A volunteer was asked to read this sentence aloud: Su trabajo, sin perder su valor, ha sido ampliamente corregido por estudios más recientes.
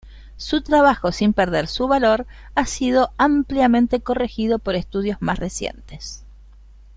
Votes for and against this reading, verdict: 2, 0, accepted